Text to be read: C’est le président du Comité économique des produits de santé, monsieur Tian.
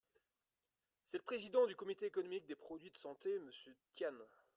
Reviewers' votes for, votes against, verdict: 0, 3, rejected